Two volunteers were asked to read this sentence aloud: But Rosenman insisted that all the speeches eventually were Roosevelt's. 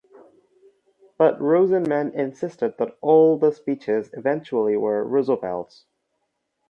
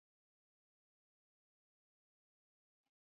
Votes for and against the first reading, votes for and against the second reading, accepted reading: 4, 0, 0, 2, first